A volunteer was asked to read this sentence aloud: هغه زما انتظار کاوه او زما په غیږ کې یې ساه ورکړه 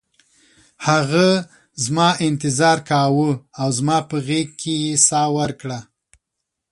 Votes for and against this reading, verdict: 2, 0, accepted